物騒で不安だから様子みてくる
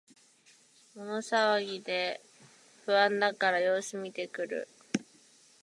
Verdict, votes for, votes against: rejected, 1, 2